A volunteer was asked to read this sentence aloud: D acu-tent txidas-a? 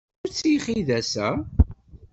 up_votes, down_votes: 0, 2